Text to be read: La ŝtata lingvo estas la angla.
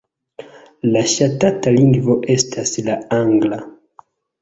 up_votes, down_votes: 1, 2